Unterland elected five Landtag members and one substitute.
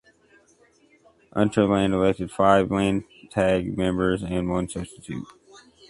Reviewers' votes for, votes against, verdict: 2, 0, accepted